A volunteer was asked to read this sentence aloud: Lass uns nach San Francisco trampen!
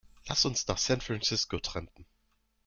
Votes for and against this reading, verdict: 2, 1, accepted